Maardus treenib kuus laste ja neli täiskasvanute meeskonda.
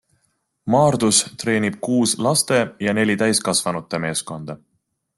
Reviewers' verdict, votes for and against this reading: accepted, 2, 0